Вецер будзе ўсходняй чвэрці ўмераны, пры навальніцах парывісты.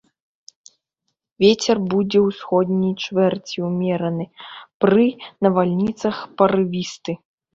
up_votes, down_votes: 3, 0